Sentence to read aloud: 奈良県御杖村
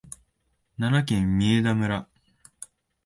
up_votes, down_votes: 3, 0